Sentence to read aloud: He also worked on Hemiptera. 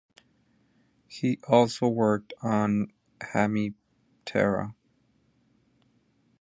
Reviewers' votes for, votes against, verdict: 2, 0, accepted